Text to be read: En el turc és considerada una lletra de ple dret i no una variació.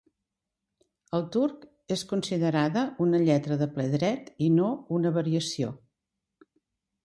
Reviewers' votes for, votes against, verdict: 0, 2, rejected